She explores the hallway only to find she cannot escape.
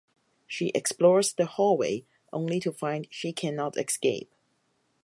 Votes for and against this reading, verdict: 2, 4, rejected